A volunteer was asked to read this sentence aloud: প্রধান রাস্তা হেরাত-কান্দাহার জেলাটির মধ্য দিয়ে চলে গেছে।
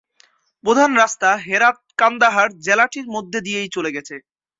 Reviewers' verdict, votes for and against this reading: rejected, 0, 2